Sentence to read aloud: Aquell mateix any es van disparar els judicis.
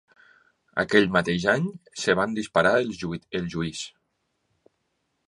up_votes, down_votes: 1, 2